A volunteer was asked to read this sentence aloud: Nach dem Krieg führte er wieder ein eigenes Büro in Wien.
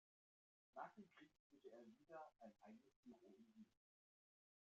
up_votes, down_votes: 0, 3